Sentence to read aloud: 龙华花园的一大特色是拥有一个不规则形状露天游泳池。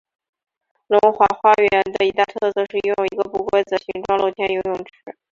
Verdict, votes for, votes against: rejected, 0, 2